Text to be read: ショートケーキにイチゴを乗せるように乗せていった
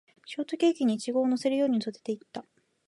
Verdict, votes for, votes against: rejected, 1, 2